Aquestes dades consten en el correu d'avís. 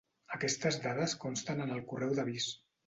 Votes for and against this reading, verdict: 2, 0, accepted